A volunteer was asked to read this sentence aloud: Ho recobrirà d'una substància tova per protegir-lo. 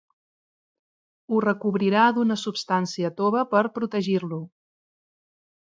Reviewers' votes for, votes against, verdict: 2, 0, accepted